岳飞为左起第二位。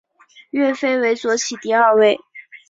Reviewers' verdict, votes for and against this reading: accepted, 4, 0